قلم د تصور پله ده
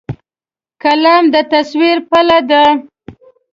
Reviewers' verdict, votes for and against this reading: rejected, 1, 2